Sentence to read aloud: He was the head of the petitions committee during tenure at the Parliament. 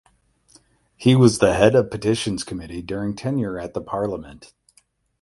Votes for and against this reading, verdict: 8, 0, accepted